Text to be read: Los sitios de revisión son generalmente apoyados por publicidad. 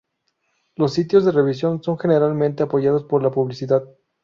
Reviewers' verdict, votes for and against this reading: rejected, 0, 2